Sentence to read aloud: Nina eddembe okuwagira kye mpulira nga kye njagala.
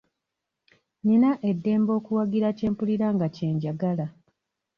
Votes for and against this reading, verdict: 2, 0, accepted